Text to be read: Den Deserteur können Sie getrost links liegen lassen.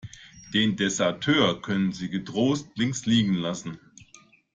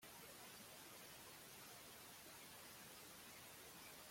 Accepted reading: first